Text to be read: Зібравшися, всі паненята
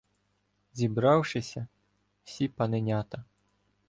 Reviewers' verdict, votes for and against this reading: rejected, 1, 2